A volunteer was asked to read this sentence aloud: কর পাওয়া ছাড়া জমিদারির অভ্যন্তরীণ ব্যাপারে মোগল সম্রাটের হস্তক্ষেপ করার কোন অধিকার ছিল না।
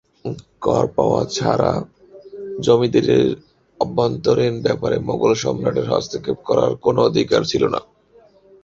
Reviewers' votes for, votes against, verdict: 2, 2, rejected